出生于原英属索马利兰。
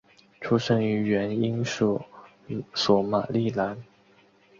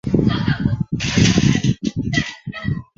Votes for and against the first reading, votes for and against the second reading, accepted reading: 2, 0, 1, 2, first